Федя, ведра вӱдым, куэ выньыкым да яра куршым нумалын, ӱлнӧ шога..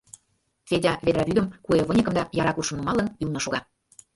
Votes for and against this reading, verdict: 2, 0, accepted